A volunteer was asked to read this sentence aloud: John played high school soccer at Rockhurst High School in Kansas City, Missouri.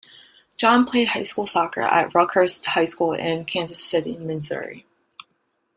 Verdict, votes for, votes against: accepted, 2, 0